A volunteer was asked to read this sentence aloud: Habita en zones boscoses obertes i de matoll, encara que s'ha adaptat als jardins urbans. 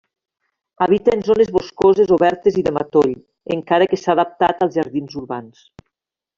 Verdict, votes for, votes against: accepted, 2, 0